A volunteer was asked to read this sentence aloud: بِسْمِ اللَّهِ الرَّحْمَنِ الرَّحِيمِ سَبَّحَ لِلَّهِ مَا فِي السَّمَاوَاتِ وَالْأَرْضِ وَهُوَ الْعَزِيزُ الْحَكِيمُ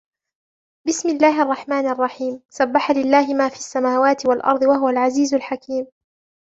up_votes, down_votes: 1, 2